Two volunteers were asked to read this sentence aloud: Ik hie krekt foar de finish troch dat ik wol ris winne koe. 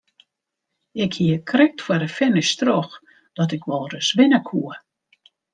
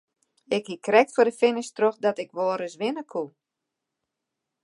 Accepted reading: first